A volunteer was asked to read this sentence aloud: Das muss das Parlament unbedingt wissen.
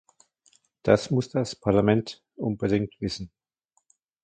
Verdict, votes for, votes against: accepted, 2, 0